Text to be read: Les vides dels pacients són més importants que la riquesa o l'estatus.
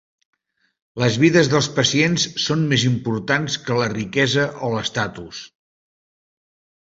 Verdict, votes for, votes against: accepted, 2, 0